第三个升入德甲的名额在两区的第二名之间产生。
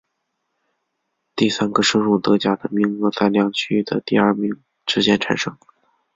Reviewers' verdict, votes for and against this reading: accepted, 3, 0